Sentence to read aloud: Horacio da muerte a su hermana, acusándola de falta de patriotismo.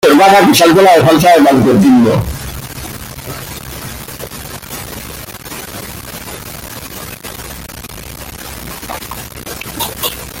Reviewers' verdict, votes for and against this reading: rejected, 0, 2